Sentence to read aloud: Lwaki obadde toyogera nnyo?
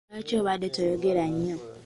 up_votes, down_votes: 2, 0